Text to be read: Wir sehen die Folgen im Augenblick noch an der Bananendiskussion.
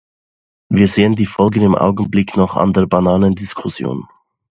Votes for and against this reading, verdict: 2, 0, accepted